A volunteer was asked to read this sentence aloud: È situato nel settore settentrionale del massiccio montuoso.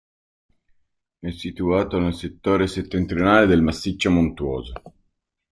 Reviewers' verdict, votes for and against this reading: accepted, 3, 0